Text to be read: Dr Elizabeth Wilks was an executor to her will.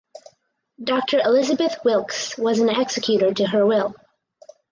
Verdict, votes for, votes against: rejected, 2, 2